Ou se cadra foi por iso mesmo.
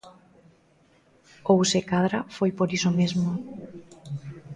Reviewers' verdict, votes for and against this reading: rejected, 0, 2